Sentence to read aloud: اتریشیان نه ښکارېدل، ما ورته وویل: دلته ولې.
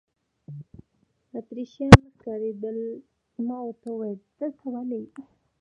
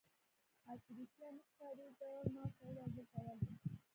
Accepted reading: first